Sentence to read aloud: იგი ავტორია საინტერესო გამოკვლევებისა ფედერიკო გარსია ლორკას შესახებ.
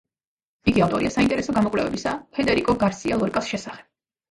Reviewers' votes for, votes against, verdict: 2, 1, accepted